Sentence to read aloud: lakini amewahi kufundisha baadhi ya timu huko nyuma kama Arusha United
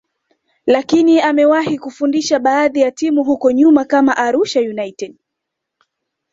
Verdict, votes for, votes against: accepted, 2, 1